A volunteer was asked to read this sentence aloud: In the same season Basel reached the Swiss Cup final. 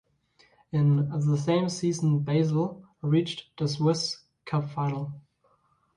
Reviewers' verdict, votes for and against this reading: accepted, 2, 1